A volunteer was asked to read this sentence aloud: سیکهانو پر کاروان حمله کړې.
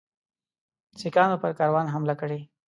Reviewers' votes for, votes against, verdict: 2, 0, accepted